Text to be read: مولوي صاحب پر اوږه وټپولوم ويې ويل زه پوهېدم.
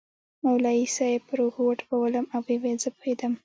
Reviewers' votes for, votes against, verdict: 2, 1, accepted